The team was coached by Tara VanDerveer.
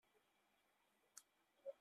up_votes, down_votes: 0, 2